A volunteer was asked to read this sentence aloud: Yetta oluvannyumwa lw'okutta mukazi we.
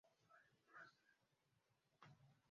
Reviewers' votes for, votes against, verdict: 0, 2, rejected